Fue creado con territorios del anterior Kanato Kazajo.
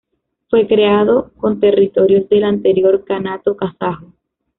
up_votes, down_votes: 2, 0